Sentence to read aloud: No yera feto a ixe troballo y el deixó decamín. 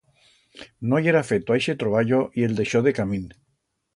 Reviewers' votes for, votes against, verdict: 2, 0, accepted